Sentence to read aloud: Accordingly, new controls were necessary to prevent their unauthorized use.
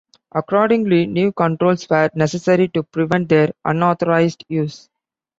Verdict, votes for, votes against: accepted, 2, 0